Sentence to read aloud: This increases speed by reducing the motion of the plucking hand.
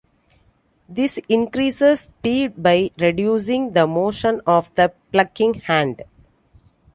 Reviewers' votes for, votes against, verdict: 2, 0, accepted